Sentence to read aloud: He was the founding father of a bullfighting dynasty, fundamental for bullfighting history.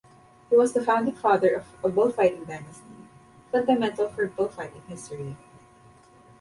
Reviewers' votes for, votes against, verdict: 0, 2, rejected